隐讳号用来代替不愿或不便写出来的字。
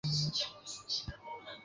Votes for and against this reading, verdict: 0, 3, rejected